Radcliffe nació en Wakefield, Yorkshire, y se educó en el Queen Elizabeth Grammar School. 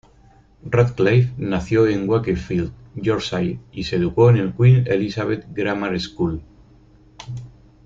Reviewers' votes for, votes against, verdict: 3, 0, accepted